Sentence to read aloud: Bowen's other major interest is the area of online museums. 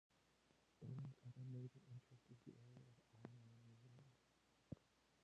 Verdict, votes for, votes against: rejected, 0, 2